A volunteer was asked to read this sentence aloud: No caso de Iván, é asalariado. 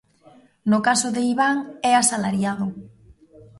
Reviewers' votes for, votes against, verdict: 1, 2, rejected